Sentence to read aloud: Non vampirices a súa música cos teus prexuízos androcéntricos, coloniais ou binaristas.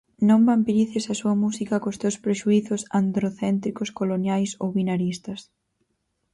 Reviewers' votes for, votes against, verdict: 4, 0, accepted